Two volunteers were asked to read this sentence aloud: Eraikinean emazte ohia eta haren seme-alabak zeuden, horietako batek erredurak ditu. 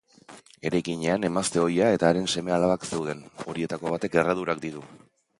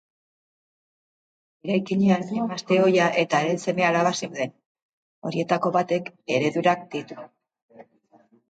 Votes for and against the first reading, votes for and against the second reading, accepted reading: 3, 0, 1, 2, first